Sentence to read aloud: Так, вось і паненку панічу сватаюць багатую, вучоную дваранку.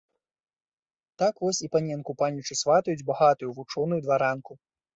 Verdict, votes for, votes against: accepted, 2, 0